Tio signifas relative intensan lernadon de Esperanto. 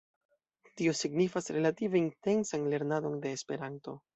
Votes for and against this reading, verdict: 2, 0, accepted